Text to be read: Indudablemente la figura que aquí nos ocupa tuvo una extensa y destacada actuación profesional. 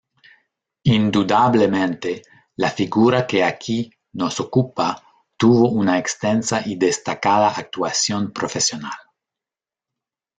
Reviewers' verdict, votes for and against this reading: accepted, 2, 0